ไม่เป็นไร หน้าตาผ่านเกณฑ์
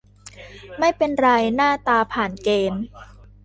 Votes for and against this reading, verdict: 2, 0, accepted